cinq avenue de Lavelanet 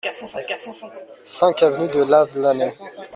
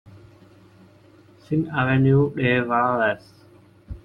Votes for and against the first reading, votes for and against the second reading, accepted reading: 2, 0, 0, 2, first